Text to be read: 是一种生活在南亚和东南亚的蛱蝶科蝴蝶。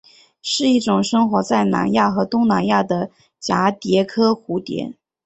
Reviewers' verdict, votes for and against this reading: accepted, 8, 0